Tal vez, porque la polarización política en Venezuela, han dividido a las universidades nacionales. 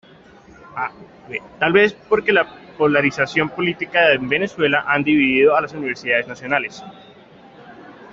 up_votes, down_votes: 2, 1